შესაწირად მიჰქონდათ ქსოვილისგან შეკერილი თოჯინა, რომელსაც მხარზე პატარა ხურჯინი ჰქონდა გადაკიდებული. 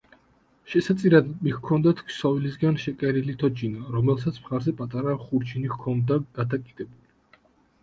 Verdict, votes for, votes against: accepted, 2, 0